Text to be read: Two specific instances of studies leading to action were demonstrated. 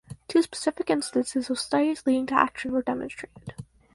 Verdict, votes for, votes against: rejected, 2, 4